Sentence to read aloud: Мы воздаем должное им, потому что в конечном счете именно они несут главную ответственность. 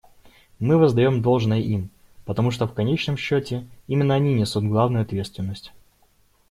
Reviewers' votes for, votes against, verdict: 2, 0, accepted